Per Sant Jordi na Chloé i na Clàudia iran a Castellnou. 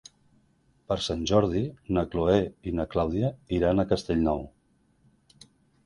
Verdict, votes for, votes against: accepted, 2, 0